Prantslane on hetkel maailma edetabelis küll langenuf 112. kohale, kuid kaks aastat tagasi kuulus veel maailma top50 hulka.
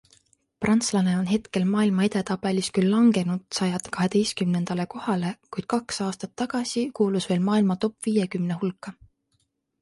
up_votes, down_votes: 0, 2